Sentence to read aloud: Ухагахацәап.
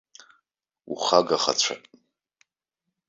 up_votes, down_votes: 3, 0